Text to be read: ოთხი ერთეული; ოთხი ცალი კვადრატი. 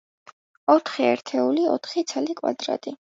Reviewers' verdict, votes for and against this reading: accepted, 2, 0